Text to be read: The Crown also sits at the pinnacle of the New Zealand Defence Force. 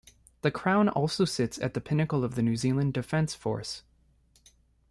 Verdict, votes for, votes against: rejected, 1, 2